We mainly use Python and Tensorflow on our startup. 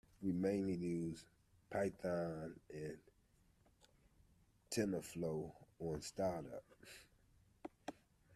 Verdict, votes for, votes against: rejected, 1, 2